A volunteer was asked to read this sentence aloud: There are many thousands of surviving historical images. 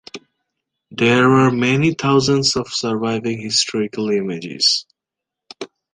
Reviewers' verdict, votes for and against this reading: rejected, 1, 3